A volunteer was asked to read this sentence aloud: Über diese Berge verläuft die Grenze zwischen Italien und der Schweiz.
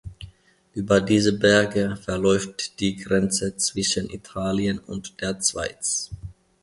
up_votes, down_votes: 1, 2